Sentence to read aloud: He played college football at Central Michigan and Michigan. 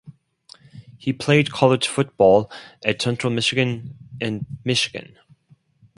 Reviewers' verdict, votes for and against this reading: accepted, 4, 0